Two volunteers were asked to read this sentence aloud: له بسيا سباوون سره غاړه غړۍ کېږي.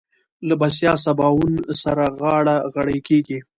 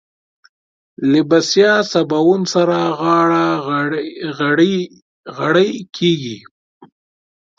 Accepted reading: first